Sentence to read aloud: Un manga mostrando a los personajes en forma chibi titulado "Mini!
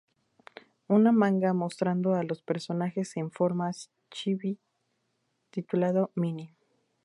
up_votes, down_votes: 0, 2